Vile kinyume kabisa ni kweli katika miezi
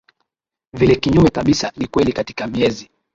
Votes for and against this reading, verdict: 2, 0, accepted